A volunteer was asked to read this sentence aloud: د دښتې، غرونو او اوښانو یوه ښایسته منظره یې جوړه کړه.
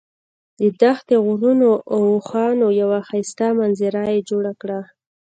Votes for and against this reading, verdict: 2, 0, accepted